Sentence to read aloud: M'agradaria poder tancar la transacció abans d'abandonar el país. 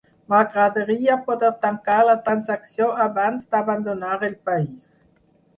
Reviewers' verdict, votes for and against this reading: rejected, 2, 4